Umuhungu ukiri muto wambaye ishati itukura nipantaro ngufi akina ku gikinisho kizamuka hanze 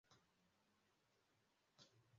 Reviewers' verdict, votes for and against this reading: rejected, 0, 2